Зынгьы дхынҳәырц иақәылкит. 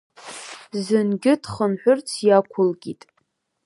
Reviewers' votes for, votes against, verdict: 4, 0, accepted